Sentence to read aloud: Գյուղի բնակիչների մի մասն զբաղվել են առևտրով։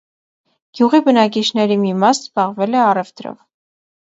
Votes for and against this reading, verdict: 0, 2, rejected